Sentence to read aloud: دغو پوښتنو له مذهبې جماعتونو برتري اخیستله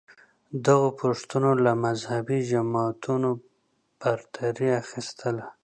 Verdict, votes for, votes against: accepted, 2, 0